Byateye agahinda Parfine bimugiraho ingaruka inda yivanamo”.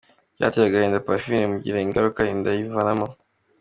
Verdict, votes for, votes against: accepted, 2, 0